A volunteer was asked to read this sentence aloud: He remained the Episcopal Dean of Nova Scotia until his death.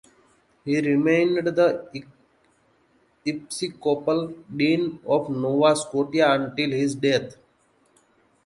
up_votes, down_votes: 1, 2